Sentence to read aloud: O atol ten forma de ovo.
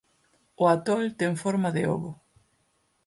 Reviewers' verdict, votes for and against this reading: accepted, 4, 0